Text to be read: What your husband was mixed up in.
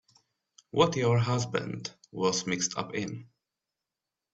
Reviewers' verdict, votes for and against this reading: accepted, 2, 0